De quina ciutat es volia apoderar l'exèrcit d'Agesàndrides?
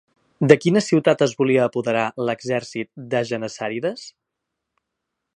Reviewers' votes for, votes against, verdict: 0, 2, rejected